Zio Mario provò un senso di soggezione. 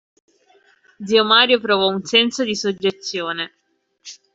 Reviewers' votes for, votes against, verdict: 2, 0, accepted